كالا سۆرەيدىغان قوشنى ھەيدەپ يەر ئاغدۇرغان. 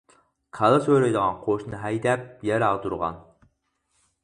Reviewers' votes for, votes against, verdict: 2, 2, rejected